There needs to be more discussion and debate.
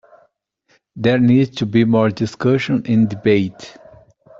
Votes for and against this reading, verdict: 2, 0, accepted